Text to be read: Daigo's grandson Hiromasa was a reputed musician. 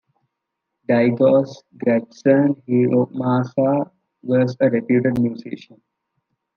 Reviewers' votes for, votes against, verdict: 2, 0, accepted